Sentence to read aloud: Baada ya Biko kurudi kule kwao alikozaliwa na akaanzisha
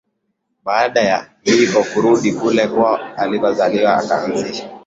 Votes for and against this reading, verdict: 1, 2, rejected